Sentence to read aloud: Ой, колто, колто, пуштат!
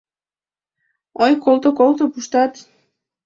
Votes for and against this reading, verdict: 2, 0, accepted